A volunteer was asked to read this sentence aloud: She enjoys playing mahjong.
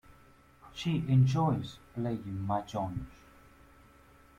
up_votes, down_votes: 2, 1